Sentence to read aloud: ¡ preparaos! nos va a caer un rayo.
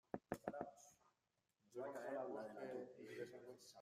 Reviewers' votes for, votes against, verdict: 0, 2, rejected